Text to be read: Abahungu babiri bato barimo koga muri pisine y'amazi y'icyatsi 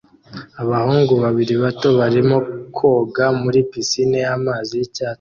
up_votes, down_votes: 0, 2